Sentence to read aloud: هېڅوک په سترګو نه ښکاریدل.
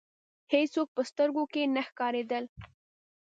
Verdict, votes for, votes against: rejected, 0, 2